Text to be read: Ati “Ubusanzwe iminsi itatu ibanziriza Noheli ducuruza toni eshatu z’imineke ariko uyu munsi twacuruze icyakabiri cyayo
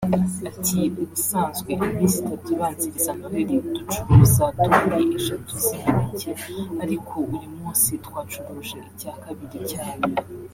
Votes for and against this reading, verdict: 2, 1, accepted